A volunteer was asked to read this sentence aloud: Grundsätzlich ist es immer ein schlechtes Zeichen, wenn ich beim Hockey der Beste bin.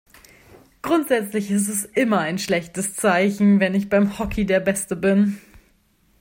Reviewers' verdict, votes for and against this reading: accepted, 2, 0